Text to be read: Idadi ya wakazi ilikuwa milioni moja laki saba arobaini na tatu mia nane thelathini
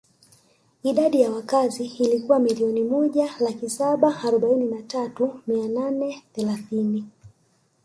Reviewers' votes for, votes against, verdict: 1, 2, rejected